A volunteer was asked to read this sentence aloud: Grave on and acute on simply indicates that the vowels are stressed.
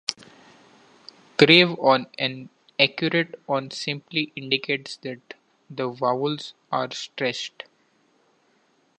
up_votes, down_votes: 1, 2